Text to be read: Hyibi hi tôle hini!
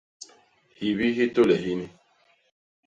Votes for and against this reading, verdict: 2, 0, accepted